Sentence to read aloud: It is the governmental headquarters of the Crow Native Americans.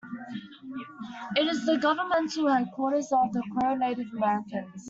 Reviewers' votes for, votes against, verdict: 2, 1, accepted